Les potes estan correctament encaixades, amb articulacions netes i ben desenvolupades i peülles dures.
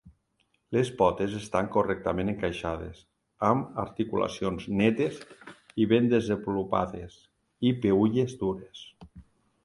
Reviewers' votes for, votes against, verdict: 2, 0, accepted